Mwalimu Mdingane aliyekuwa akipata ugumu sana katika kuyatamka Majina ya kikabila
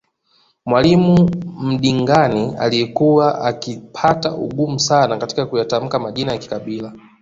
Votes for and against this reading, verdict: 2, 0, accepted